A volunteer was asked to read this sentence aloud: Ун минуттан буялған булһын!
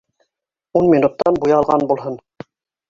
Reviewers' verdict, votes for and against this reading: rejected, 1, 2